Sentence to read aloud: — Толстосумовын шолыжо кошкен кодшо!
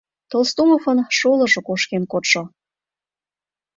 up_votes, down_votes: 1, 3